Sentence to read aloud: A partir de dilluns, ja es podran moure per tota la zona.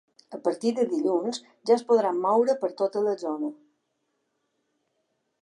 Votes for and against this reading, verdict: 3, 0, accepted